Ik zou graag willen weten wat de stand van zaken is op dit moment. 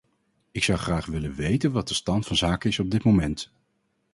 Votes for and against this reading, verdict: 4, 0, accepted